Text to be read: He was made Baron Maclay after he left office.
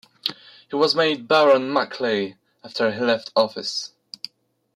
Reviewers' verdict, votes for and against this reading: accepted, 2, 0